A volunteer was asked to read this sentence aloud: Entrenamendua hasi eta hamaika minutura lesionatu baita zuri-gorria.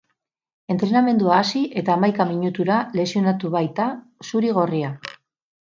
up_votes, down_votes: 6, 0